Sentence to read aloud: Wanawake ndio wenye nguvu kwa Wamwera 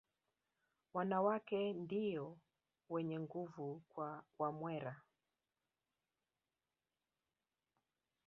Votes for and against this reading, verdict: 1, 2, rejected